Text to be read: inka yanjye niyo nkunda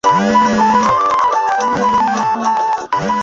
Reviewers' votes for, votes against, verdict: 1, 2, rejected